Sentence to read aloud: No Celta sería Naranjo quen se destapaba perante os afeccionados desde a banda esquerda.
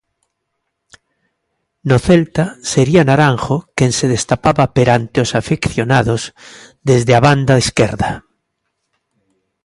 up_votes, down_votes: 3, 1